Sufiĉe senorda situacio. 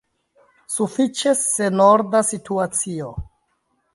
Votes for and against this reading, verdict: 2, 0, accepted